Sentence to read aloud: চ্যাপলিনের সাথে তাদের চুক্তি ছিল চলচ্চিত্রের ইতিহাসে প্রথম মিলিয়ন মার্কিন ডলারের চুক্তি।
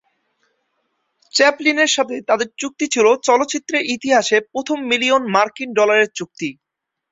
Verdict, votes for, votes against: accepted, 2, 0